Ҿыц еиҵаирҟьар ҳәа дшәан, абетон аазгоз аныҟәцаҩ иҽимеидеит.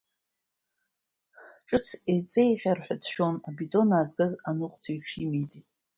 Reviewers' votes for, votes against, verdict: 1, 2, rejected